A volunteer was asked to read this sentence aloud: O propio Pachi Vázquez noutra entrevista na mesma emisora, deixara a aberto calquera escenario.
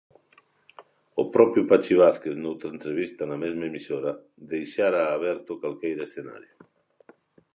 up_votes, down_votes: 1, 2